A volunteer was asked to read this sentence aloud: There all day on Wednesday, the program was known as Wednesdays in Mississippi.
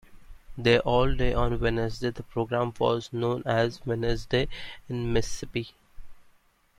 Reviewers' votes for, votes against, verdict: 0, 2, rejected